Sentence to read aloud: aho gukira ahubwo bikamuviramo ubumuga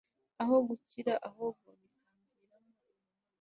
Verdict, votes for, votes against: rejected, 0, 2